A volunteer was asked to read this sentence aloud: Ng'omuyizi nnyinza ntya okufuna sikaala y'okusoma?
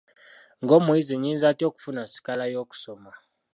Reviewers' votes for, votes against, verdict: 2, 1, accepted